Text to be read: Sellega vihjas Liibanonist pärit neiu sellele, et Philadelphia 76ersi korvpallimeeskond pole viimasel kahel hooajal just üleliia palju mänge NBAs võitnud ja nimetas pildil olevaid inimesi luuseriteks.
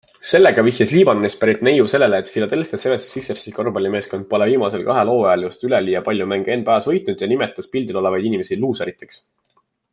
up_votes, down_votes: 0, 2